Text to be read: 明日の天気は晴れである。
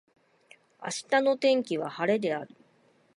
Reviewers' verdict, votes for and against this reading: accepted, 2, 1